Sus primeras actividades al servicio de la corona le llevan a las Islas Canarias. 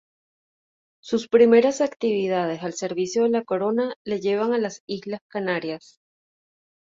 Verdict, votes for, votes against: accepted, 2, 0